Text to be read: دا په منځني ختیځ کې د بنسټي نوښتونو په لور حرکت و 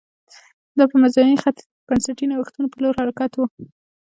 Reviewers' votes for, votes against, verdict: 2, 0, accepted